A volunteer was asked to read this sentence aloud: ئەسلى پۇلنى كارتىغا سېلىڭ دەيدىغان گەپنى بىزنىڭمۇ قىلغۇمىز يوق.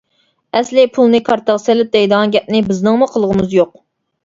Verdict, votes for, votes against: rejected, 1, 2